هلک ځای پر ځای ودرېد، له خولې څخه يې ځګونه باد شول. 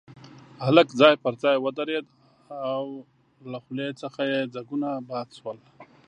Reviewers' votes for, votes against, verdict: 0, 2, rejected